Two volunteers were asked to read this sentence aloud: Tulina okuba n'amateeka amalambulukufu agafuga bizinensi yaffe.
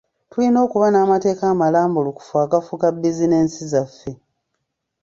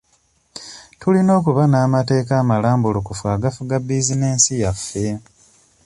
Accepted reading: second